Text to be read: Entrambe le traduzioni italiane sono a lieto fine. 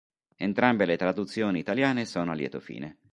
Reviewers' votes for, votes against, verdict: 3, 0, accepted